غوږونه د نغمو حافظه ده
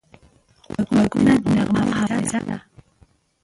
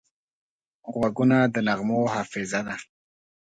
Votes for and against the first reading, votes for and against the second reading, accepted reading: 0, 2, 8, 1, second